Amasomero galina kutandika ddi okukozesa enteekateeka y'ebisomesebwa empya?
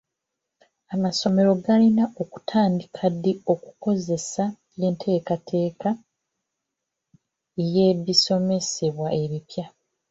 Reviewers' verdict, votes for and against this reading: rejected, 0, 2